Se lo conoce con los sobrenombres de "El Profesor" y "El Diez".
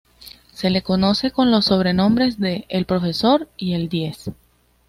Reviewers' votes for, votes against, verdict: 2, 0, accepted